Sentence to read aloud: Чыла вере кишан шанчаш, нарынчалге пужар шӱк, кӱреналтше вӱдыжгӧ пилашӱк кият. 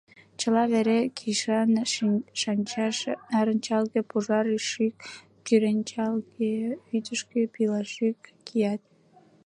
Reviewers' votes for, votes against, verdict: 1, 2, rejected